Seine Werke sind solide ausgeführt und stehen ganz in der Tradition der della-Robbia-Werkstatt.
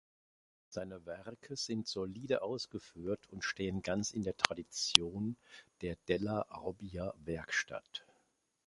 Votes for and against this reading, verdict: 2, 0, accepted